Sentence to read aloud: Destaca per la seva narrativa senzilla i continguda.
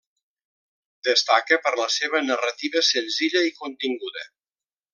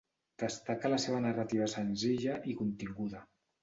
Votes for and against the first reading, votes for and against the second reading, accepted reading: 3, 0, 1, 2, first